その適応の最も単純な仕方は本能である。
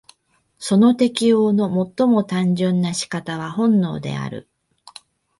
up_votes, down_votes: 2, 0